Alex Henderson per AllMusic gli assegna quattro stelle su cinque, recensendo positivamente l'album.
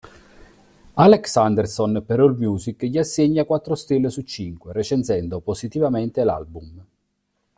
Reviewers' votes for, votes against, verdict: 0, 2, rejected